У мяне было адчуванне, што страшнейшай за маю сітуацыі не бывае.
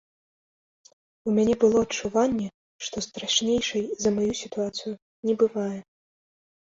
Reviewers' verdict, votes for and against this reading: rejected, 1, 2